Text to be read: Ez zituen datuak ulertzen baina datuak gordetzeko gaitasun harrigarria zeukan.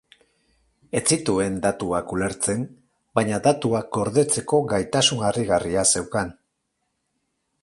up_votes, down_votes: 2, 2